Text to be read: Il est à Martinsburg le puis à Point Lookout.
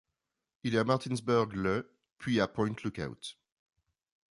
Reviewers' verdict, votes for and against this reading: rejected, 0, 2